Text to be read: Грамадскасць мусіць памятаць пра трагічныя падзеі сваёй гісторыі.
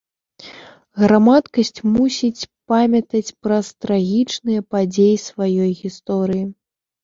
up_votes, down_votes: 1, 2